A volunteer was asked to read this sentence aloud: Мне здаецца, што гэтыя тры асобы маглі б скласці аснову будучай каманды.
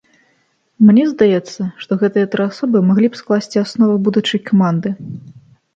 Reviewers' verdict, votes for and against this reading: accepted, 3, 0